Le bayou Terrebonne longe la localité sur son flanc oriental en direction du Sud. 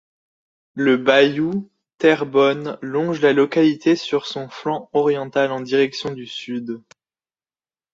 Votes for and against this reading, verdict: 2, 0, accepted